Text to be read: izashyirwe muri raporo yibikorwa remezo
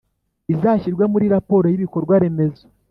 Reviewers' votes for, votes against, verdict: 2, 0, accepted